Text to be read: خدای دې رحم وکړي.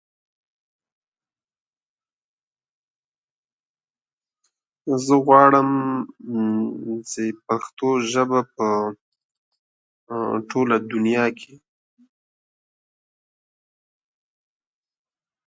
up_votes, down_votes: 0, 2